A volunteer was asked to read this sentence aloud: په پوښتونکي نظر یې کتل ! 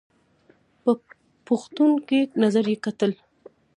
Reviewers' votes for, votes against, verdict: 2, 0, accepted